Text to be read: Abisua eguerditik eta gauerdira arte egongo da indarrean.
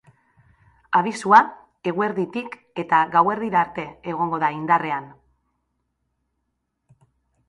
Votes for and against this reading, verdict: 5, 0, accepted